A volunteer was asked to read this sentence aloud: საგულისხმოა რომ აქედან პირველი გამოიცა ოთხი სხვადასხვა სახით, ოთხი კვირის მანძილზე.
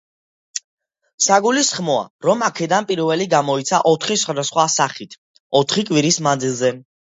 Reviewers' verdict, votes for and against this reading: accepted, 2, 0